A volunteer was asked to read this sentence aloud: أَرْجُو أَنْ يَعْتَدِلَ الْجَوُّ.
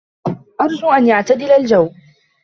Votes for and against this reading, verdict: 1, 2, rejected